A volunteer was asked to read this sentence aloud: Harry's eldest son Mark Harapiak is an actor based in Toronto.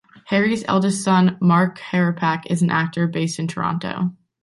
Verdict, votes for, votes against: rejected, 0, 2